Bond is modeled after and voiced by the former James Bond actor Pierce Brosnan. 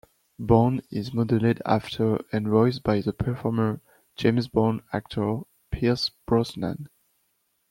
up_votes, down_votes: 0, 2